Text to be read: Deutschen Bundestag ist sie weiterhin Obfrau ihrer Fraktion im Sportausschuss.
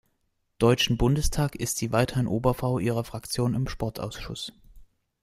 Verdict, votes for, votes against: rejected, 0, 2